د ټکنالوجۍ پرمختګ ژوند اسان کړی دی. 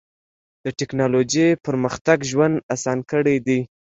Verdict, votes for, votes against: accepted, 2, 0